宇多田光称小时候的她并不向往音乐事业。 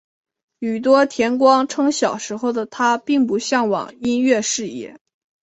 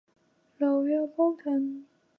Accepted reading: first